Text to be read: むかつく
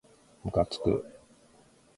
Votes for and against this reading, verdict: 2, 0, accepted